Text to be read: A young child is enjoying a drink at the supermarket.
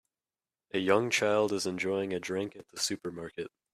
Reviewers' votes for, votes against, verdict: 2, 0, accepted